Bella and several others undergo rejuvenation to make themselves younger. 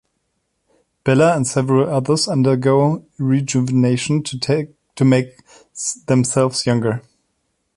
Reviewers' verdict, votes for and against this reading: rejected, 1, 2